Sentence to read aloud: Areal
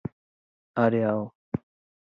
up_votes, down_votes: 2, 0